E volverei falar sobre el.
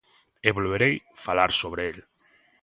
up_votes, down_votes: 2, 0